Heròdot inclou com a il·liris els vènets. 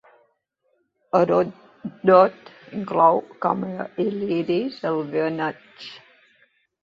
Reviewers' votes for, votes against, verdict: 0, 2, rejected